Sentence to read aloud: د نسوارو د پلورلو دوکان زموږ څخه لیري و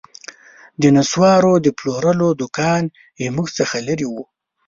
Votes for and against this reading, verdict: 0, 2, rejected